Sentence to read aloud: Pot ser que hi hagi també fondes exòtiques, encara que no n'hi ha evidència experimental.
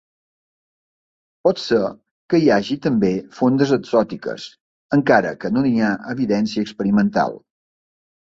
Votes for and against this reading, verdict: 2, 0, accepted